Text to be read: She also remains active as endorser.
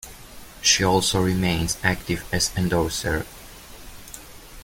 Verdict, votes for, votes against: accepted, 2, 0